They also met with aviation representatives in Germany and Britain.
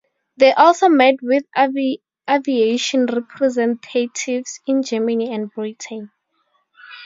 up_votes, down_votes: 0, 4